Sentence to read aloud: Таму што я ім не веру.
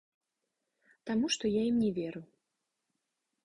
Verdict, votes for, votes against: accepted, 2, 1